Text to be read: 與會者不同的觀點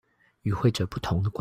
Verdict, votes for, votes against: rejected, 0, 2